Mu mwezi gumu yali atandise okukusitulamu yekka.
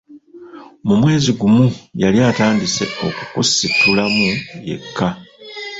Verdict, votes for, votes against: accepted, 2, 0